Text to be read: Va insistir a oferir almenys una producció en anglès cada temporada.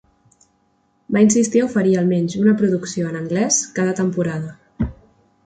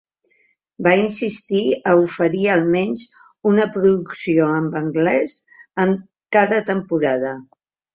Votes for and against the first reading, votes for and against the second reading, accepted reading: 2, 0, 0, 2, first